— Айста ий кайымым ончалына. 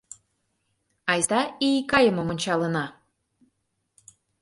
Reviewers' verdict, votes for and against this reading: accepted, 2, 0